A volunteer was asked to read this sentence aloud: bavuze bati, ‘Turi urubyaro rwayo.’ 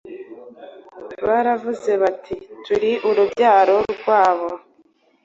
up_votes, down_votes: 1, 2